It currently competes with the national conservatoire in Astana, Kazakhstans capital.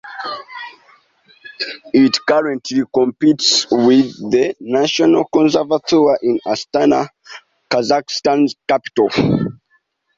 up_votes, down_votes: 1, 2